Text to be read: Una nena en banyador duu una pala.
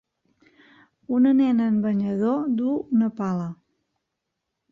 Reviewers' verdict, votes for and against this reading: accepted, 3, 0